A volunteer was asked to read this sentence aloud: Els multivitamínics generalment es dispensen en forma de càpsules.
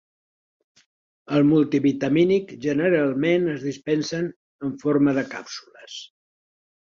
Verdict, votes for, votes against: rejected, 1, 2